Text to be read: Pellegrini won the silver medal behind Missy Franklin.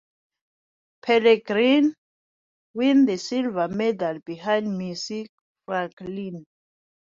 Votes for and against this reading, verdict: 1, 2, rejected